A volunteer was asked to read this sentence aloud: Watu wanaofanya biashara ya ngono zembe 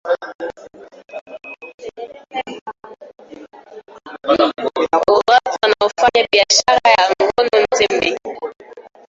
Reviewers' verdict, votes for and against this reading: rejected, 0, 2